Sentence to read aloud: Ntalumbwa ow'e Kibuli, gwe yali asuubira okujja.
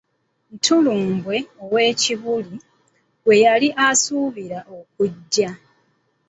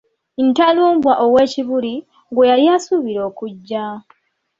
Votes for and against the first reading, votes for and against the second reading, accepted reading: 1, 2, 2, 0, second